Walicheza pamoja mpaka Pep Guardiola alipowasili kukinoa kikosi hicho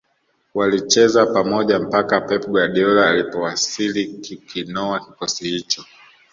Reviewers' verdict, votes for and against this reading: accepted, 2, 0